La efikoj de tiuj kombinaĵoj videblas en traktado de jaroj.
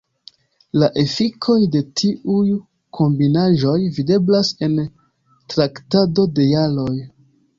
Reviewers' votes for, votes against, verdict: 3, 0, accepted